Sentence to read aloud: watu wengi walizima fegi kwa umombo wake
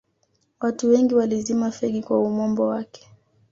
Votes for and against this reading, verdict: 2, 0, accepted